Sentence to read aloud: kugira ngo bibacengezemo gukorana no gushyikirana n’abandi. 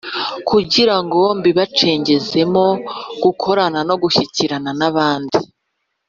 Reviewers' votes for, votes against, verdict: 3, 0, accepted